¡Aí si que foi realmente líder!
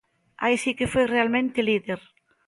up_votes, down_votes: 2, 0